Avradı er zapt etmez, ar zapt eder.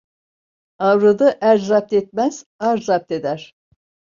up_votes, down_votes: 2, 0